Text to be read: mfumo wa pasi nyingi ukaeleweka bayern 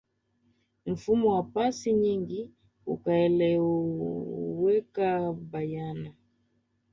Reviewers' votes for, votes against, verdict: 1, 2, rejected